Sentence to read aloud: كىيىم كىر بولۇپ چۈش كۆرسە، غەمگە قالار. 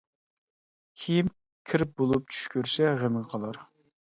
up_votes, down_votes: 1, 2